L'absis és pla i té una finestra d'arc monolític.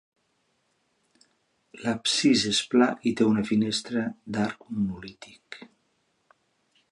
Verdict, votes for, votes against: accepted, 2, 0